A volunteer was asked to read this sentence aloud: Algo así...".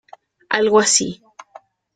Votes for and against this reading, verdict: 2, 0, accepted